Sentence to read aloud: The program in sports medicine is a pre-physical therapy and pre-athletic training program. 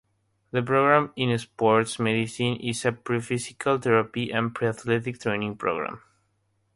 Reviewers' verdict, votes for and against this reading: rejected, 0, 3